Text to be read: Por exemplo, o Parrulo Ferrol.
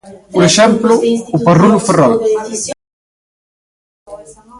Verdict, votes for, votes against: rejected, 0, 2